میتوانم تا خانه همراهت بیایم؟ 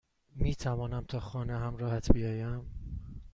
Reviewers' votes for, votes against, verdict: 2, 0, accepted